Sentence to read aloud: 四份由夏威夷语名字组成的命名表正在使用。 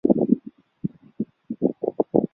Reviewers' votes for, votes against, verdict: 0, 2, rejected